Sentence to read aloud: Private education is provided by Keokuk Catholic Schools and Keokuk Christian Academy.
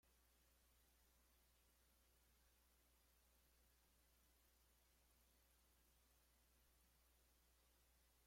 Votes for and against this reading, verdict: 0, 2, rejected